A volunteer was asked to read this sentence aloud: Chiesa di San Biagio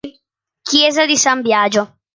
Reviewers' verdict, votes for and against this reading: accepted, 2, 0